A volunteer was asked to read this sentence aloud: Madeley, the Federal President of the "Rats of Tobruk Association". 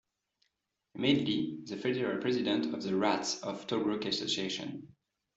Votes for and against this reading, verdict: 2, 0, accepted